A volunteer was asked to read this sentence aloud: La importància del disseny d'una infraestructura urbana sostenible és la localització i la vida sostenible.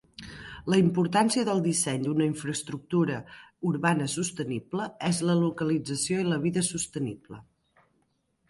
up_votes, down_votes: 2, 0